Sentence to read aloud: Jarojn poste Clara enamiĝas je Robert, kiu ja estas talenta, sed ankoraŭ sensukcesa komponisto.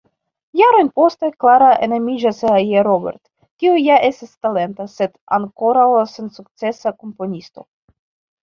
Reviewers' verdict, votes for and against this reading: rejected, 0, 2